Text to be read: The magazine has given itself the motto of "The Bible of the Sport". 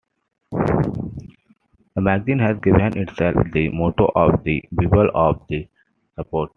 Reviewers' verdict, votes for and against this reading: rejected, 1, 2